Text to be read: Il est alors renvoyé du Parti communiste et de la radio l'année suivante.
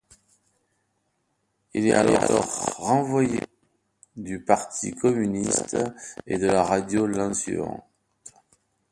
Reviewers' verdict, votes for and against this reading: rejected, 0, 2